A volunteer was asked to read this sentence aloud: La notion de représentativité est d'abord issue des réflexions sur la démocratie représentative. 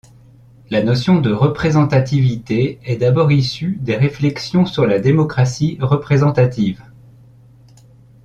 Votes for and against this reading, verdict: 2, 0, accepted